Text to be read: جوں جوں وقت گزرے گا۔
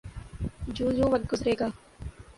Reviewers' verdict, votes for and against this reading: accepted, 6, 0